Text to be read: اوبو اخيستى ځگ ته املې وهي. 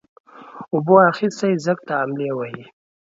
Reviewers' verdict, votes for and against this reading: accepted, 2, 0